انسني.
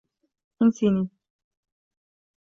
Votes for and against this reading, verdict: 1, 2, rejected